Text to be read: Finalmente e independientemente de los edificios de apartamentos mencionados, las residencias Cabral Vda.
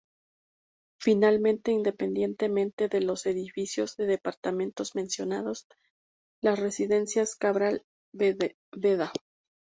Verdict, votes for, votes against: rejected, 0, 2